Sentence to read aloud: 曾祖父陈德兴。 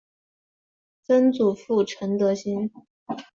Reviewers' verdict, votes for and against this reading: accepted, 3, 0